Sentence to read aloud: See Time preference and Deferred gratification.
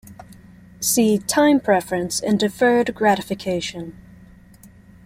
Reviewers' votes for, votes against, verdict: 2, 0, accepted